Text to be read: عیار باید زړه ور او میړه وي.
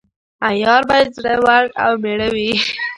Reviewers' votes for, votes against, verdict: 0, 2, rejected